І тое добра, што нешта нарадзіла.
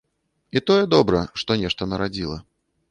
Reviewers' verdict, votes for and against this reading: accepted, 2, 0